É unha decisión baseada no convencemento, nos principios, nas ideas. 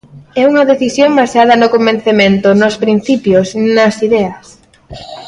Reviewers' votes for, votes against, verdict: 2, 0, accepted